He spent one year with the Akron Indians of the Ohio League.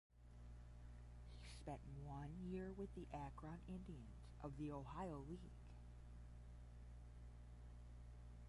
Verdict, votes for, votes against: rejected, 0, 10